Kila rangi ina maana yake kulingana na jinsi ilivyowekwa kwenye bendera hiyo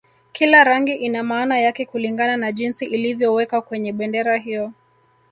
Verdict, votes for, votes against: rejected, 0, 2